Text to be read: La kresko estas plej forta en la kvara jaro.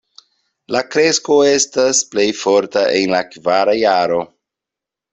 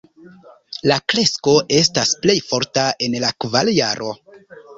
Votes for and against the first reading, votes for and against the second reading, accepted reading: 2, 0, 1, 2, first